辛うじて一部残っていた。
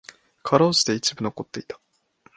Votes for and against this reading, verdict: 3, 0, accepted